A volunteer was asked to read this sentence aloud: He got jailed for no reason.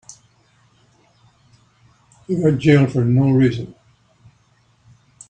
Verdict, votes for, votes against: accepted, 3, 0